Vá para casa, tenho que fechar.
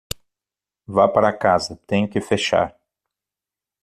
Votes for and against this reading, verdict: 6, 0, accepted